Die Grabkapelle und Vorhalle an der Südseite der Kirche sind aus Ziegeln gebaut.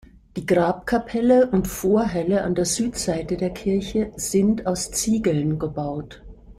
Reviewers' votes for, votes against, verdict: 2, 1, accepted